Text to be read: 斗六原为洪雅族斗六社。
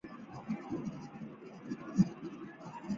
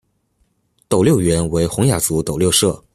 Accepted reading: second